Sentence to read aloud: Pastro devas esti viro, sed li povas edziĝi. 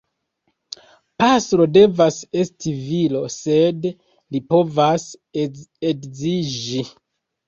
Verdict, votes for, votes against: rejected, 1, 2